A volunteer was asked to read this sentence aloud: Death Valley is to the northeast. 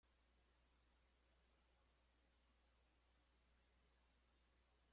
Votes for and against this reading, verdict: 0, 2, rejected